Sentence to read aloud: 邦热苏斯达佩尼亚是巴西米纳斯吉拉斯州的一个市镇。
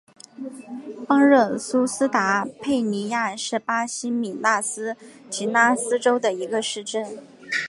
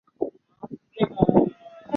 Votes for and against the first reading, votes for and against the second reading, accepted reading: 3, 0, 0, 2, first